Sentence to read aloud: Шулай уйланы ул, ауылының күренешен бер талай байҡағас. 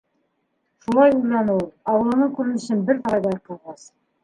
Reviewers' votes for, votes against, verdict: 0, 2, rejected